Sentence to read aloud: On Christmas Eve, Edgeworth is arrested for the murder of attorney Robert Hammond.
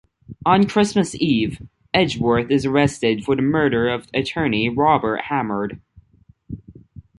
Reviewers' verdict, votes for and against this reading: rejected, 0, 2